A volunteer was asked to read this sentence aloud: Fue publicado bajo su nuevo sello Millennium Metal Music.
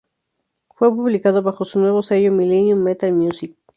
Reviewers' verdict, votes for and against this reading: accepted, 2, 0